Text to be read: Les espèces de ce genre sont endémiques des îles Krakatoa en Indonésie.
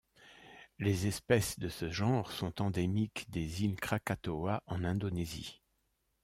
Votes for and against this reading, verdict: 2, 0, accepted